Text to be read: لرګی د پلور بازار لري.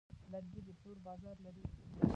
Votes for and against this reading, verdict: 0, 2, rejected